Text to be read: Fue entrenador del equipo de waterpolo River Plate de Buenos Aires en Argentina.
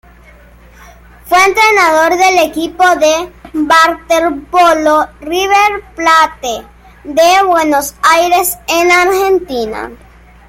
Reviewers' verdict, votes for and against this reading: rejected, 1, 2